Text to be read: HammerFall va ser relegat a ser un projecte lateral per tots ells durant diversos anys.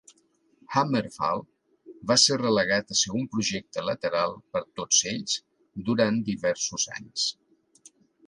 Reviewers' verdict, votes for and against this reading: accepted, 3, 0